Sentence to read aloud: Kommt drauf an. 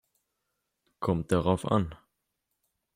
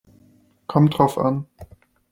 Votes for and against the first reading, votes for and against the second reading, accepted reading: 1, 2, 2, 0, second